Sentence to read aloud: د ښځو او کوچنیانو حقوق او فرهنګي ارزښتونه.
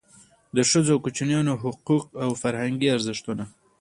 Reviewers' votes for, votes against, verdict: 2, 1, accepted